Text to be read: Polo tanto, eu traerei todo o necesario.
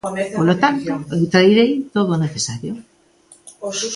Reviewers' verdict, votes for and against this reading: rejected, 1, 2